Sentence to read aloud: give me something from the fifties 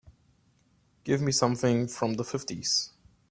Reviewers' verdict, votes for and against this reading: accepted, 3, 0